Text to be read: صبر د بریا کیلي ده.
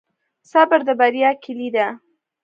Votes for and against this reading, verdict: 0, 2, rejected